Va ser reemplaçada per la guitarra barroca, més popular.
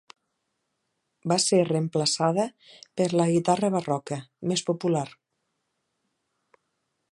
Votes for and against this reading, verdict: 4, 0, accepted